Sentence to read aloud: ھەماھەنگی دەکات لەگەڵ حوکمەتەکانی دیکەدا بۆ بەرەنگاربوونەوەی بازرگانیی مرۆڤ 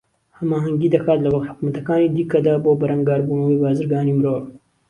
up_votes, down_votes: 2, 0